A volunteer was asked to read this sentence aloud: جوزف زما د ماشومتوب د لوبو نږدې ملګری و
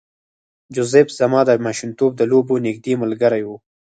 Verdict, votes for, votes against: rejected, 2, 4